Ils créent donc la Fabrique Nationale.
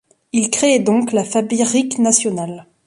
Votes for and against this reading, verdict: 0, 2, rejected